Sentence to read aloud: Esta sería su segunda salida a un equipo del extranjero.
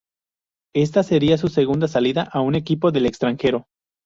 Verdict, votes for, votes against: accepted, 2, 0